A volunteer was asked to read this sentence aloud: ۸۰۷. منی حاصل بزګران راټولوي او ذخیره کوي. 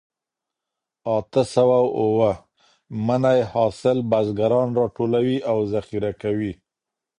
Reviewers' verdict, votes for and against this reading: rejected, 0, 2